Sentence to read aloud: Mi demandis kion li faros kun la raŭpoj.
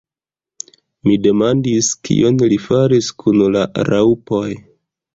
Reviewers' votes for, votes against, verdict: 0, 2, rejected